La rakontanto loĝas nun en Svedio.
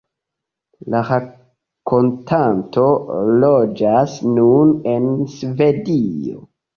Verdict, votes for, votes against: accepted, 2, 0